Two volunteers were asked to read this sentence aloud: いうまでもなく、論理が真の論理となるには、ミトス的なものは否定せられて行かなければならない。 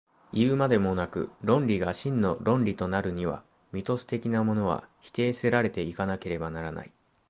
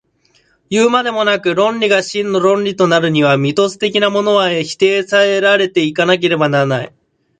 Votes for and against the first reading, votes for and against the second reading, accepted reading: 2, 0, 0, 3, first